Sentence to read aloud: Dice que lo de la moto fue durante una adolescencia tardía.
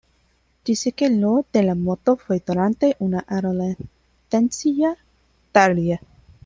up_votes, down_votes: 0, 2